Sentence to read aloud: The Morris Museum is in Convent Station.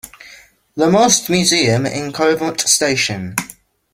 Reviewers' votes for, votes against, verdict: 0, 2, rejected